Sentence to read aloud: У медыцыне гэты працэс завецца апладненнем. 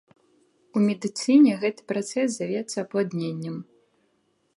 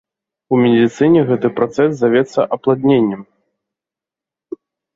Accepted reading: first